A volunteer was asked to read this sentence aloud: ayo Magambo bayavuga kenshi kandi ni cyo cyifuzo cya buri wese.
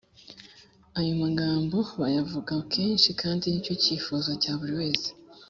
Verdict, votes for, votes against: accepted, 3, 0